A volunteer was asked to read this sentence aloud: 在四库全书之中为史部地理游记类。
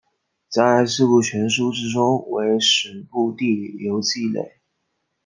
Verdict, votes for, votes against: accepted, 2, 0